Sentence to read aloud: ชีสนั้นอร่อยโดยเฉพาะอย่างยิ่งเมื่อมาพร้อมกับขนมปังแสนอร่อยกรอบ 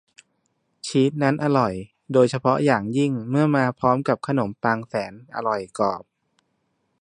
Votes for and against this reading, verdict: 1, 2, rejected